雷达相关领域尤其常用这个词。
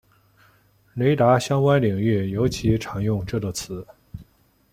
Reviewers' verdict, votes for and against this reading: accepted, 2, 0